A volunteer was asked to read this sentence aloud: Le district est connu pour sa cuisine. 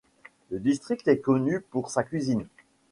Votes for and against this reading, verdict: 2, 0, accepted